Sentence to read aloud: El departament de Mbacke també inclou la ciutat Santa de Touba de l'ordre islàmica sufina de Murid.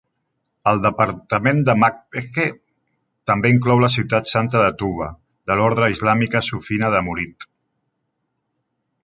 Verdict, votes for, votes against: rejected, 1, 2